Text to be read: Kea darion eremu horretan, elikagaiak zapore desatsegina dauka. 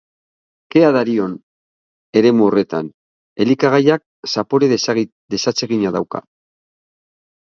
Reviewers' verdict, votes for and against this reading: rejected, 0, 3